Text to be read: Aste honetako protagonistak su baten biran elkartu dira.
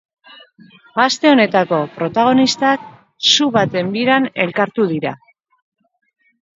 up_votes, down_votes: 0, 2